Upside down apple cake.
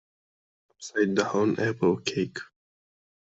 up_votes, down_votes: 0, 2